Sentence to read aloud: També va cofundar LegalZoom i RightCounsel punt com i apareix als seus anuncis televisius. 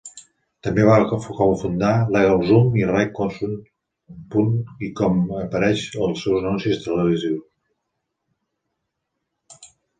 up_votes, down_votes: 0, 2